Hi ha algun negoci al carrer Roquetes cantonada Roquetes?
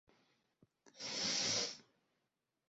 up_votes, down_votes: 0, 4